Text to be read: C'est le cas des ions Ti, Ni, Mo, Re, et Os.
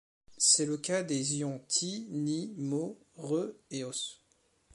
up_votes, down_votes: 2, 1